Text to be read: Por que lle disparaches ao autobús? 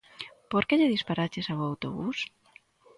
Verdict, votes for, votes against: accepted, 2, 0